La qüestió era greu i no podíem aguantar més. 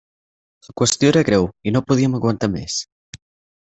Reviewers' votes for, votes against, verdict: 2, 4, rejected